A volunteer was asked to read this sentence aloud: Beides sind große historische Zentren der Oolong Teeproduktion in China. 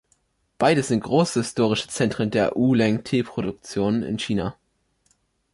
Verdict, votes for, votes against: rejected, 1, 3